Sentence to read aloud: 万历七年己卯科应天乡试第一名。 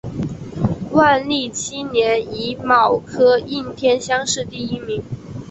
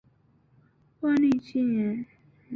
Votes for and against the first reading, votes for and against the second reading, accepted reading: 4, 0, 1, 2, first